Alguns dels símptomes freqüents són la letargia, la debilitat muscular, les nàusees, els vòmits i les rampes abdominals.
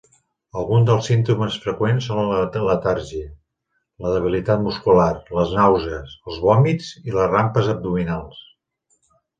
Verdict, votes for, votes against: rejected, 0, 2